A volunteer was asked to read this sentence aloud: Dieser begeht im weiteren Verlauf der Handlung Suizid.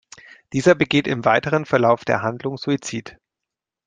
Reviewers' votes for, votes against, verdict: 2, 0, accepted